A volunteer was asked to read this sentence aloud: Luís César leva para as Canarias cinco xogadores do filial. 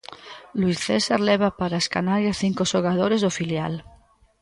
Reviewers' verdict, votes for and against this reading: rejected, 0, 2